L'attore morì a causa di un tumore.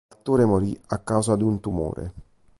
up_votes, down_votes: 2, 1